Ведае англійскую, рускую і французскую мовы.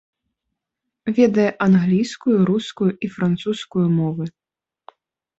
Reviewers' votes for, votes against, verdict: 2, 1, accepted